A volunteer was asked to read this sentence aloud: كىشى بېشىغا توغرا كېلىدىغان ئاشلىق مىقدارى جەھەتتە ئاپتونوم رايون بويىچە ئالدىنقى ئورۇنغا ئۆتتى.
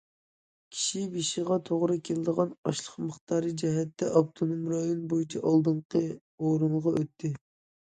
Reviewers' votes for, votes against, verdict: 2, 0, accepted